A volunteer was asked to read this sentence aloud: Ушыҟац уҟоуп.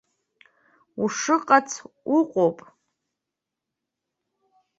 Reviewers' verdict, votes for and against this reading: accepted, 3, 0